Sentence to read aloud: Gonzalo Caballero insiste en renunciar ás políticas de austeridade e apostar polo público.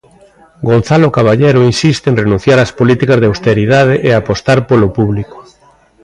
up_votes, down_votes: 0, 2